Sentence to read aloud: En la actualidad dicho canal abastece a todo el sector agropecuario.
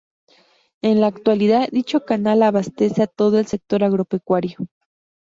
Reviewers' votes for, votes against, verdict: 2, 0, accepted